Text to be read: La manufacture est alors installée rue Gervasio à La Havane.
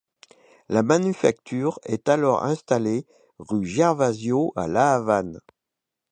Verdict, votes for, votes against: accepted, 2, 0